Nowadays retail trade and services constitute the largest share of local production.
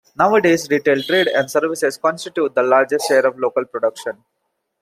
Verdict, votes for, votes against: accepted, 2, 0